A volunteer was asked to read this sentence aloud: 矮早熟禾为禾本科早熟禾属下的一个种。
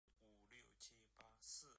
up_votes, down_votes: 0, 3